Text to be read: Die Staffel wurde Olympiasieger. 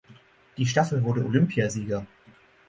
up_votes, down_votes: 6, 0